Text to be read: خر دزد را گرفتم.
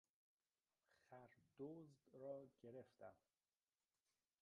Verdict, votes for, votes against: rejected, 0, 2